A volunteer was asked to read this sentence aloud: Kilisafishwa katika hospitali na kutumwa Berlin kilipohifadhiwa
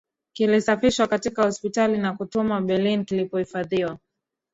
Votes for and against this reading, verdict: 1, 2, rejected